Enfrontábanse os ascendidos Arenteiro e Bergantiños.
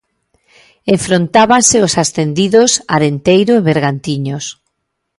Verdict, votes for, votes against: rejected, 1, 2